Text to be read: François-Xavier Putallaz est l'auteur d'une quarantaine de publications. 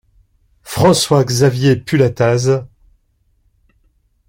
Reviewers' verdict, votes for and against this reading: rejected, 0, 2